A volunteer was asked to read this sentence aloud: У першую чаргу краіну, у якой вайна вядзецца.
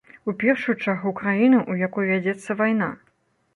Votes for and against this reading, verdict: 1, 2, rejected